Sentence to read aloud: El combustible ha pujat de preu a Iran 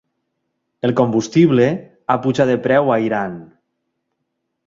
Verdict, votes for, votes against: accepted, 3, 0